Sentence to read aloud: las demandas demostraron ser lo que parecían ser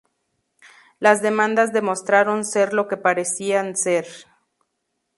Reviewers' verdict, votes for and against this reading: accepted, 2, 0